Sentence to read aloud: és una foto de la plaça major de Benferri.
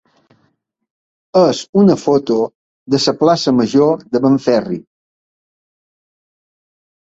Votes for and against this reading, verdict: 1, 2, rejected